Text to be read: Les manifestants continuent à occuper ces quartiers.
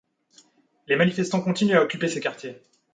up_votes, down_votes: 2, 0